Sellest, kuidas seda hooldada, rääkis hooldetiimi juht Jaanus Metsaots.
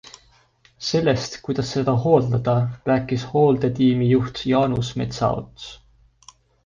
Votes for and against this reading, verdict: 2, 0, accepted